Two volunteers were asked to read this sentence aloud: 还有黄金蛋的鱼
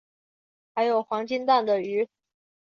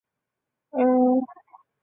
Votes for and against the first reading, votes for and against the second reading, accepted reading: 4, 0, 0, 2, first